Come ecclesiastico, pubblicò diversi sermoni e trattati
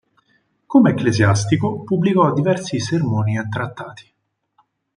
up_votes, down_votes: 4, 0